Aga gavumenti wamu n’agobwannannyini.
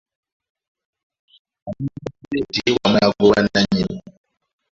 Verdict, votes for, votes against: rejected, 1, 2